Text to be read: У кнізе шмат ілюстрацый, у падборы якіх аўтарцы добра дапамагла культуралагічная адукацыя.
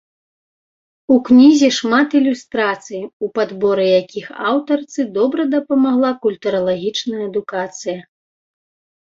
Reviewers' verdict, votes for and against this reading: accepted, 2, 0